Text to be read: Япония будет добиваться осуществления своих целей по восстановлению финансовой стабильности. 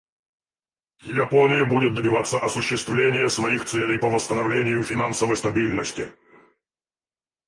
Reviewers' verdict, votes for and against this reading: rejected, 2, 2